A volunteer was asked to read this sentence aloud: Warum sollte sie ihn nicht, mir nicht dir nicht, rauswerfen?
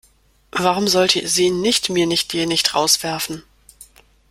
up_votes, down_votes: 0, 2